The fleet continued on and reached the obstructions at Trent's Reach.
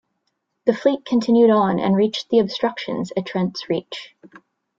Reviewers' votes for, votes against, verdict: 2, 0, accepted